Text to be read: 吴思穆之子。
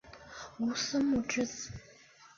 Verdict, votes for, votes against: accepted, 4, 0